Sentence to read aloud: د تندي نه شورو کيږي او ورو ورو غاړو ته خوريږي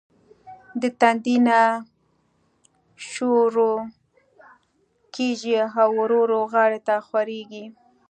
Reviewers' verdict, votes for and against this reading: accepted, 2, 0